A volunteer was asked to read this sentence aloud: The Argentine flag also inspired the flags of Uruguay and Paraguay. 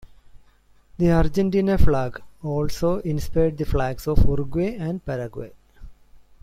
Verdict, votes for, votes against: rejected, 0, 2